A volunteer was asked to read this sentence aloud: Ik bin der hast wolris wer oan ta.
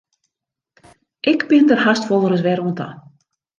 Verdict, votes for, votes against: accepted, 2, 1